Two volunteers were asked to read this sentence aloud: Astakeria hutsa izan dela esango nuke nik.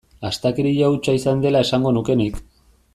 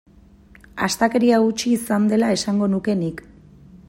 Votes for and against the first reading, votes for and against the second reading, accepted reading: 2, 0, 1, 2, first